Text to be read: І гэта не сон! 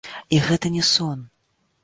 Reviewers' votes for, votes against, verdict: 1, 2, rejected